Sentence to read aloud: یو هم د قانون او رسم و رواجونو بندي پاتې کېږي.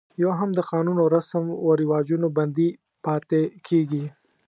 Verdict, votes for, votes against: accepted, 2, 0